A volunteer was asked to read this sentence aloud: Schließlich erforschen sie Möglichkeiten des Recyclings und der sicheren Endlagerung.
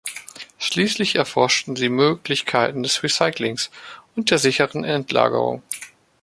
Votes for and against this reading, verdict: 2, 0, accepted